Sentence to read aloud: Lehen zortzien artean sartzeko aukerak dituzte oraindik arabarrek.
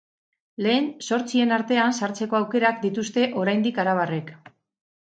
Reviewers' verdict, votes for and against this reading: accepted, 2, 0